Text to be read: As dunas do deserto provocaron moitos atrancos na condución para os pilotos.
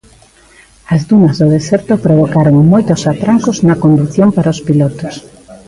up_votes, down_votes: 2, 1